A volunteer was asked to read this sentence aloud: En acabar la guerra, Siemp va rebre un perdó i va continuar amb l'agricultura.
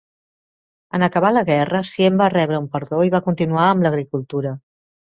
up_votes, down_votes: 2, 0